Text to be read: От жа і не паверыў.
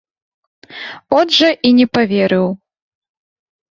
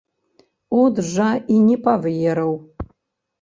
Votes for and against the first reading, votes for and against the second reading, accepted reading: 2, 0, 1, 2, first